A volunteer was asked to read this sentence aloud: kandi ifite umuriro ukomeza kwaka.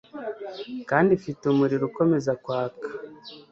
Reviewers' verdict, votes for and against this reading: accepted, 2, 0